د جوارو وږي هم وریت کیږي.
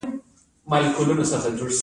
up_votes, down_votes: 2, 1